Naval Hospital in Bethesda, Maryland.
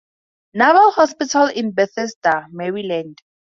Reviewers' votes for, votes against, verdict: 4, 0, accepted